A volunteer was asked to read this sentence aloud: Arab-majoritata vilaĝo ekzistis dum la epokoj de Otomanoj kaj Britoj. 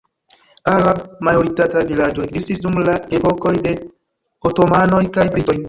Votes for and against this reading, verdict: 1, 2, rejected